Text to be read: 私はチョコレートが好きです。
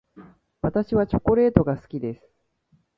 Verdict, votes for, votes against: accepted, 2, 0